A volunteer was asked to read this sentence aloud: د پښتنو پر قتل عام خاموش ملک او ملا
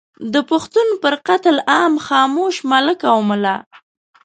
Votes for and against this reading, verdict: 1, 2, rejected